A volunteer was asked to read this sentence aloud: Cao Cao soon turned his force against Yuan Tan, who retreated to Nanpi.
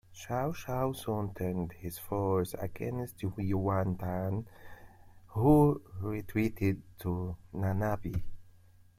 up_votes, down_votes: 0, 2